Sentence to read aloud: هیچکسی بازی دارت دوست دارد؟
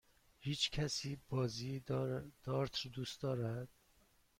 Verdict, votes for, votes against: rejected, 1, 2